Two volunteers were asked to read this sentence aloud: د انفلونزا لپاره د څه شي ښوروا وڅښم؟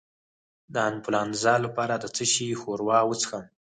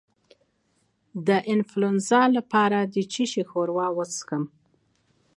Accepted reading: second